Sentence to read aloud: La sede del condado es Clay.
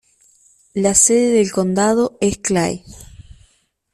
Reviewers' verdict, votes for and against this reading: accepted, 2, 1